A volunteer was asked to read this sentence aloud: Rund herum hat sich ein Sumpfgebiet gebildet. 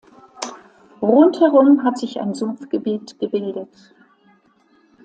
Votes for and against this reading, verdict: 2, 0, accepted